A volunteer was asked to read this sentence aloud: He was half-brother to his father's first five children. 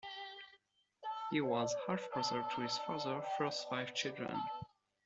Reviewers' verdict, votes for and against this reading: rejected, 1, 2